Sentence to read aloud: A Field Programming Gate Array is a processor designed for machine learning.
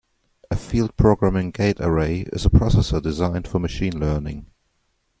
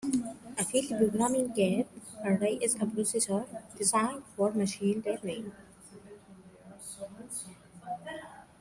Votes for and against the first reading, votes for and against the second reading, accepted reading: 2, 1, 1, 2, first